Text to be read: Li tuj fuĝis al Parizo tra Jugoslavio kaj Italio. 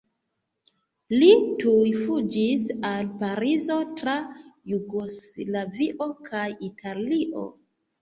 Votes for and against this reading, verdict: 1, 2, rejected